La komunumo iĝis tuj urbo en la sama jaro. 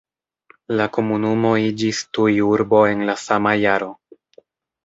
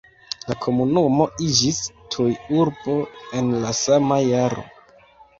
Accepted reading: first